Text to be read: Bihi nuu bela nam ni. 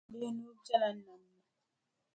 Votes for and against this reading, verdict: 0, 2, rejected